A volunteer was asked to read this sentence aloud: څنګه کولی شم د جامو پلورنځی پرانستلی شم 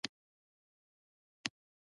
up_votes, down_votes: 0, 2